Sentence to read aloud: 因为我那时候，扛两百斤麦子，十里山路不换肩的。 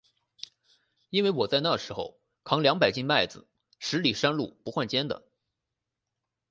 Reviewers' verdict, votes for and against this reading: rejected, 2, 2